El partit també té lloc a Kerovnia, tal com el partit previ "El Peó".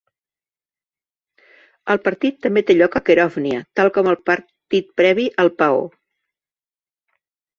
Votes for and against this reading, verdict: 2, 3, rejected